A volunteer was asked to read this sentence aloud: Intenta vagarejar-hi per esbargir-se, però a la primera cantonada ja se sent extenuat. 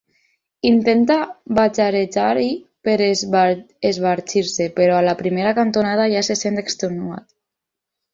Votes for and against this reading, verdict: 0, 4, rejected